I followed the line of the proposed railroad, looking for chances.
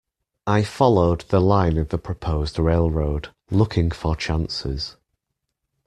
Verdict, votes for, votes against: accepted, 2, 0